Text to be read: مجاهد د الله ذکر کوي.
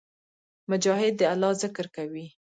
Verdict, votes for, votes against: accepted, 2, 0